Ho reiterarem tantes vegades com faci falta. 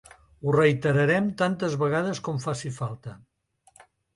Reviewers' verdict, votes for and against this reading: accepted, 2, 0